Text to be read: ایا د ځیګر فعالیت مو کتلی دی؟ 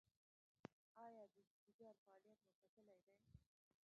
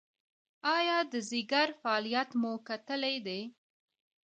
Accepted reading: second